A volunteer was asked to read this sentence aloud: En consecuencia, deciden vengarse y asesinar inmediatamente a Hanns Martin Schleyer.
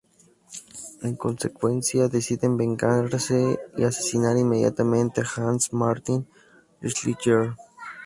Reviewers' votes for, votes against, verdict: 2, 2, rejected